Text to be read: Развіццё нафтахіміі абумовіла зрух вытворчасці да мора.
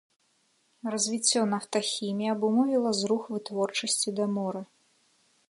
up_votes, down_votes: 2, 0